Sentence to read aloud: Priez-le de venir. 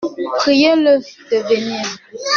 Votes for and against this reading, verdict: 1, 2, rejected